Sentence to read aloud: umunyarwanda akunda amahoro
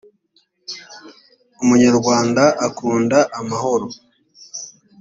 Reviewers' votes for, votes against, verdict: 2, 0, accepted